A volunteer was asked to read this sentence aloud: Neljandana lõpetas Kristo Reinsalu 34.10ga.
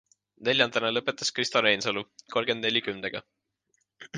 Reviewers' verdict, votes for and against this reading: rejected, 0, 2